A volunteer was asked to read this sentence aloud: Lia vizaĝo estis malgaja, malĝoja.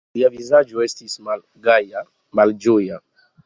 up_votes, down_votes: 1, 2